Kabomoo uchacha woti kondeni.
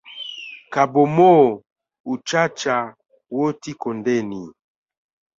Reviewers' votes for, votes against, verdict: 4, 0, accepted